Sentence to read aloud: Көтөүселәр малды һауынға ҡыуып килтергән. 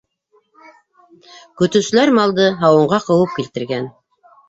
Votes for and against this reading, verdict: 1, 2, rejected